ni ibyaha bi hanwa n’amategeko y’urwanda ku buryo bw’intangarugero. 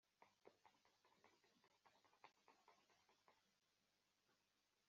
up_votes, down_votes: 0, 2